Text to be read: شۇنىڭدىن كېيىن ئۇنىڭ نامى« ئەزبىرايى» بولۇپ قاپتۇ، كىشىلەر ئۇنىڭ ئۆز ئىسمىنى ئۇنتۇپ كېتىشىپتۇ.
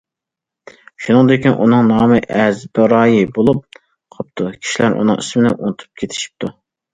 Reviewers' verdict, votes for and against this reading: rejected, 0, 2